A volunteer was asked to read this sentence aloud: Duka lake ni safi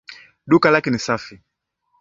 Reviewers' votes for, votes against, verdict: 2, 0, accepted